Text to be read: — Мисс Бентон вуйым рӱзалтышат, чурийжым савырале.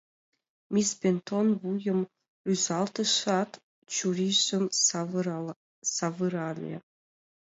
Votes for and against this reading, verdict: 1, 2, rejected